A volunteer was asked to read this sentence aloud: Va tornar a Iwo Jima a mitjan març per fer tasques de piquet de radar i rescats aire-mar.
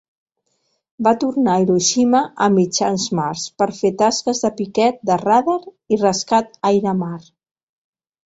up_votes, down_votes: 0, 2